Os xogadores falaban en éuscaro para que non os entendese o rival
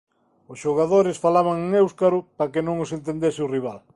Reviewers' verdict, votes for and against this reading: rejected, 1, 2